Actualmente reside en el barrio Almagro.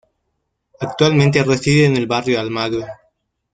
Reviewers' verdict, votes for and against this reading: rejected, 1, 2